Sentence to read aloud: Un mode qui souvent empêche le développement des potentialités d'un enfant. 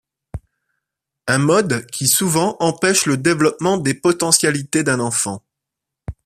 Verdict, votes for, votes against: accepted, 2, 0